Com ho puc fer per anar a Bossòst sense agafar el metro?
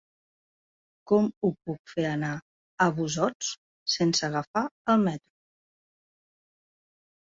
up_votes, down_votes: 1, 2